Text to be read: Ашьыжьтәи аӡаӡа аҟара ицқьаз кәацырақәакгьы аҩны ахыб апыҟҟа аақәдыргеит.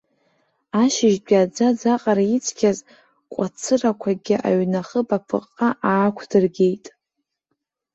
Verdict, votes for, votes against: rejected, 0, 2